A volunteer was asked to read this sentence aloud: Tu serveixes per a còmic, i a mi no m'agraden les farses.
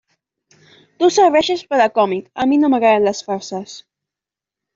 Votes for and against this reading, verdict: 1, 2, rejected